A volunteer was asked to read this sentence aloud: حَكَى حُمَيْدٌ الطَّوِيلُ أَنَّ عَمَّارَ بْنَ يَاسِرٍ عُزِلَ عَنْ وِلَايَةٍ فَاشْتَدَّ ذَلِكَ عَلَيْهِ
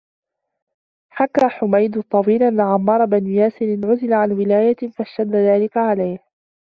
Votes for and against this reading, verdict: 2, 0, accepted